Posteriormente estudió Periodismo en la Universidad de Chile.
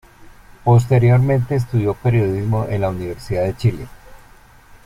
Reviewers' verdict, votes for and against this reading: accepted, 2, 0